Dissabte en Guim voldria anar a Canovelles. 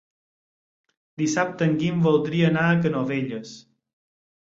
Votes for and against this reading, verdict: 6, 0, accepted